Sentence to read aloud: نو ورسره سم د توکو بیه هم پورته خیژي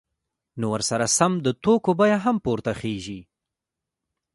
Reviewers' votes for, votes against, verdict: 0, 2, rejected